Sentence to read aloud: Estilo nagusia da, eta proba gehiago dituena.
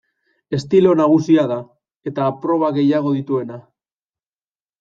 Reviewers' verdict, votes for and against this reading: accepted, 2, 0